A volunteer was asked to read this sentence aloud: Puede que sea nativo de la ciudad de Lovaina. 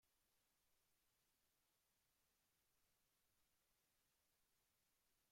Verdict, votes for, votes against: rejected, 0, 2